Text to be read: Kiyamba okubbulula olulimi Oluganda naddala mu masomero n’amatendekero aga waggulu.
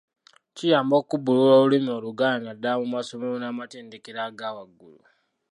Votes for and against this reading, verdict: 2, 1, accepted